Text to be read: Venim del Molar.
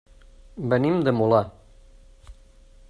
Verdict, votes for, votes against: rejected, 0, 2